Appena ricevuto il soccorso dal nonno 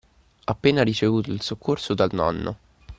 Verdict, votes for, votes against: accepted, 2, 0